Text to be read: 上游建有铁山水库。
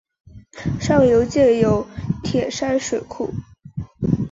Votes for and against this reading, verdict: 3, 0, accepted